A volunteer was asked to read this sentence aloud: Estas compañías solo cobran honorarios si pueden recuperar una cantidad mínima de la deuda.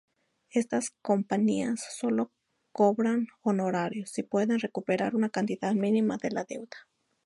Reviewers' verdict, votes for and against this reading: rejected, 0, 2